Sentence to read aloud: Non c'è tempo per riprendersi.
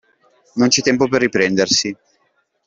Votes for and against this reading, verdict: 2, 0, accepted